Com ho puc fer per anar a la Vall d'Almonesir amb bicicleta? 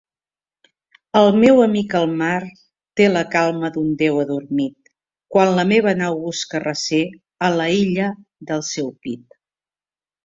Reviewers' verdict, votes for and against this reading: rejected, 0, 2